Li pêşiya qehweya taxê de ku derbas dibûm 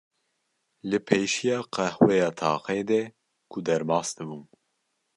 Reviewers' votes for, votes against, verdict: 2, 0, accepted